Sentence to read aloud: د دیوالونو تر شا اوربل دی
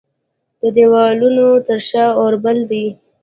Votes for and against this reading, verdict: 2, 0, accepted